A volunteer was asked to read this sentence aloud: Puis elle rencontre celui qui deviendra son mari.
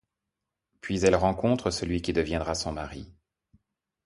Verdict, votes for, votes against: accepted, 2, 0